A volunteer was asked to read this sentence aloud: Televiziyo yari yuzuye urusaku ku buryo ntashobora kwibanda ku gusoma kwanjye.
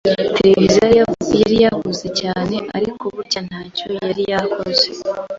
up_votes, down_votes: 1, 2